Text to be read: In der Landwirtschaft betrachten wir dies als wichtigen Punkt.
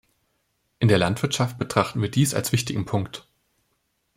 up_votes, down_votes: 2, 0